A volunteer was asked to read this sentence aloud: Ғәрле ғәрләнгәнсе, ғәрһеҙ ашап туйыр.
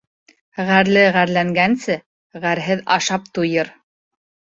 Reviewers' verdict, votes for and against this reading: accepted, 2, 0